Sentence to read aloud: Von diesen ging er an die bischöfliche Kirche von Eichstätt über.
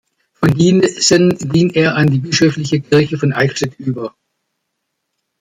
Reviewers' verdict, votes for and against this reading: rejected, 1, 2